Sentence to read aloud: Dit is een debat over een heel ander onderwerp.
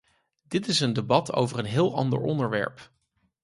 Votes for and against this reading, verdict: 4, 0, accepted